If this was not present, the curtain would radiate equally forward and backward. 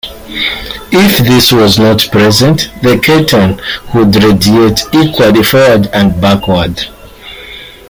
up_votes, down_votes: 1, 2